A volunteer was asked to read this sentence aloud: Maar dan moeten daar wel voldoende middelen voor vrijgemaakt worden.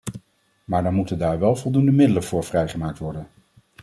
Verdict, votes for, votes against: accepted, 2, 0